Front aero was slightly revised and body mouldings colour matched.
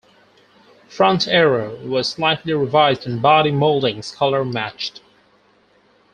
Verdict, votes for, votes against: accepted, 4, 0